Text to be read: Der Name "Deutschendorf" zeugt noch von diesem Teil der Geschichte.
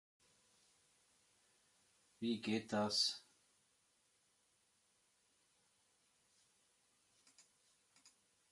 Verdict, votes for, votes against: rejected, 0, 2